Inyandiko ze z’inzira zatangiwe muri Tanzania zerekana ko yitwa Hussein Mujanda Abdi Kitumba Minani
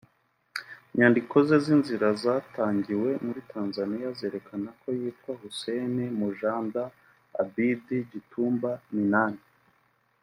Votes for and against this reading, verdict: 0, 2, rejected